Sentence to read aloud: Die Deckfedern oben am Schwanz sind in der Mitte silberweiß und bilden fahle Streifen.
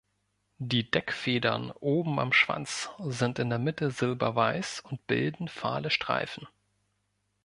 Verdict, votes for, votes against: accepted, 2, 0